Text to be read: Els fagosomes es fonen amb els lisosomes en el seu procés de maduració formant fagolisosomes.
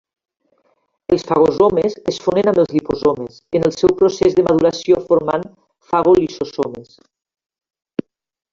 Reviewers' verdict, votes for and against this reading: rejected, 1, 2